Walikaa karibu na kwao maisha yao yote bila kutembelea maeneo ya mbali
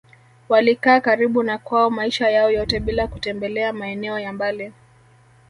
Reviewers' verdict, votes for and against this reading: accepted, 2, 0